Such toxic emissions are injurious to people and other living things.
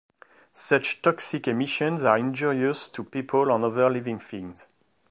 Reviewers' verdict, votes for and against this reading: accepted, 2, 1